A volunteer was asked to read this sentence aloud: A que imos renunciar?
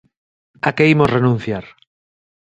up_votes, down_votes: 2, 0